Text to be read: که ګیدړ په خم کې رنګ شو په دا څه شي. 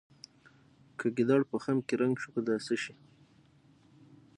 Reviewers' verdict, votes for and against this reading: accepted, 6, 0